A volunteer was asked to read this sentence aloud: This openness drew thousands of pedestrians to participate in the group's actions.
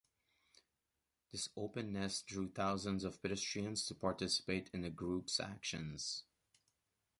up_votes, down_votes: 2, 0